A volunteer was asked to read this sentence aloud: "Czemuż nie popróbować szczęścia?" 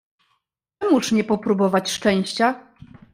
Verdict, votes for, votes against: rejected, 1, 2